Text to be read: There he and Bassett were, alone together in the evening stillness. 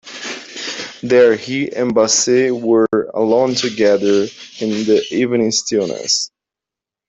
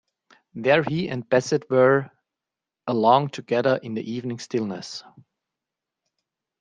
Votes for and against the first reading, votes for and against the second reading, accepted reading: 2, 0, 0, 2, first